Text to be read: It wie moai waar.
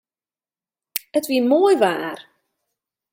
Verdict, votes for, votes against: accepted, 2, 0